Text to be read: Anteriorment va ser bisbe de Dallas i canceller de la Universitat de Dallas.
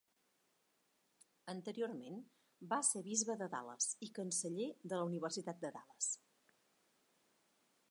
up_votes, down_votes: 3, 0